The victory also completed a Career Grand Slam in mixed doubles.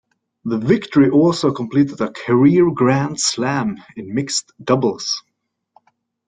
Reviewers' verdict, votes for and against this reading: accepted, 2, 0